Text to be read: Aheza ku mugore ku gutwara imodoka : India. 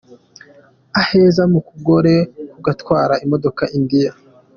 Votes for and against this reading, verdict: 1, 2, rejected